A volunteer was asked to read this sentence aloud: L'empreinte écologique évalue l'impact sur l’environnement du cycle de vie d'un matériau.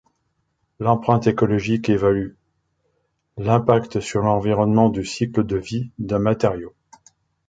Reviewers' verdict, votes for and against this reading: accepted, 2, 0